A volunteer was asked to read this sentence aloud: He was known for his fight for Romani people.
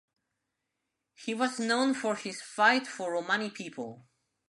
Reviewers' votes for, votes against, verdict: 1, 2, rejected